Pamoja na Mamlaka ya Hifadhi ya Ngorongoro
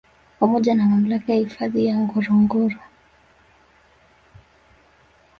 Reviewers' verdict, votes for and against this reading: rejected, 1, 2